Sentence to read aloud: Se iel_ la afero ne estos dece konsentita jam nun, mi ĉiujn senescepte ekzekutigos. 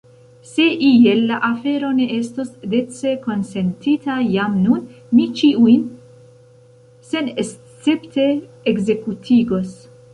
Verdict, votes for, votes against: rejected, 1, 2